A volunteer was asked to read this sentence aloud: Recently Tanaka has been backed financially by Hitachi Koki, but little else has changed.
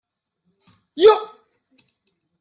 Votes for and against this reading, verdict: 0, 2, rejected